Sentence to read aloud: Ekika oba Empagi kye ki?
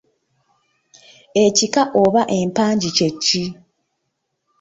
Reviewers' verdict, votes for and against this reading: rejected, 0, 2